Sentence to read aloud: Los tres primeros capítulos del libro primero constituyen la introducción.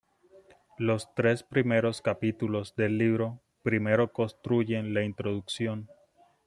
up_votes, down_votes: 0, 2